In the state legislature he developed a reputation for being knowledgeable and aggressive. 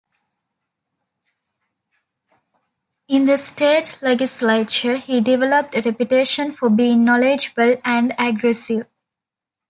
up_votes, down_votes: 2, 0